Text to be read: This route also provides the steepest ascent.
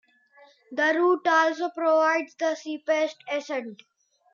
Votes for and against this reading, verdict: 0, 2, rejected